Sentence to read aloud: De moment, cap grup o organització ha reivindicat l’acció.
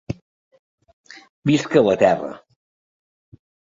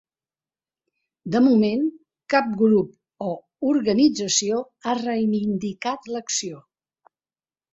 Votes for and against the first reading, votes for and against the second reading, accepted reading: 1, 2, 4, 0, second